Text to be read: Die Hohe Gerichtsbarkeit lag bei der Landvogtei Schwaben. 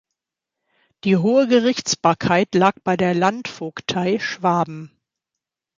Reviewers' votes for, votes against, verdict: 2, 0, accepted